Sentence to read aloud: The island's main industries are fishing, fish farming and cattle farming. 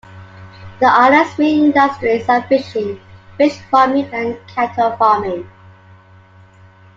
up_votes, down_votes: 2, 1